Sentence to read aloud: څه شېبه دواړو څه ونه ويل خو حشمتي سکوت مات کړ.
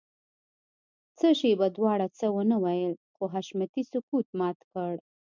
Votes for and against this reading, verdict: 2, 0, accepted